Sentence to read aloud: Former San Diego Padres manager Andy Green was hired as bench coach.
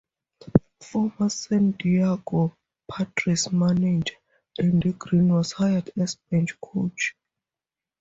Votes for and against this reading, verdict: 2, 0, accepted